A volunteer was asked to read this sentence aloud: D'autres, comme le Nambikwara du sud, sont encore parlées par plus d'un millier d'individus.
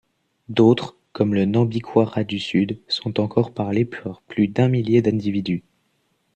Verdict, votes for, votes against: accepted, 2, 0